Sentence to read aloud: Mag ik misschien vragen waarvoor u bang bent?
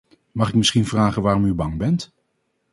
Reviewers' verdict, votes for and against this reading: rejected, 2, 2